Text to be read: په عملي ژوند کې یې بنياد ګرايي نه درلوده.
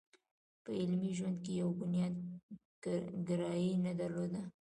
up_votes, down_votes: 1, 2